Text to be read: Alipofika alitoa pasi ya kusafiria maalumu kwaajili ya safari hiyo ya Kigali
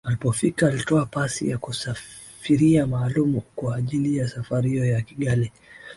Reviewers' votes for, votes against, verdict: 2, 3, rejected